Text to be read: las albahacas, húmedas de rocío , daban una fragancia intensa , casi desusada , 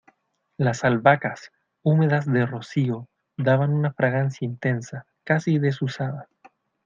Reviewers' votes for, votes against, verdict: 2, 0, accepted